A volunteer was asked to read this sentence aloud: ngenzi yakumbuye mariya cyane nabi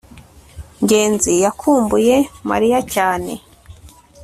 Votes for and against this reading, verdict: 0, 2, rejected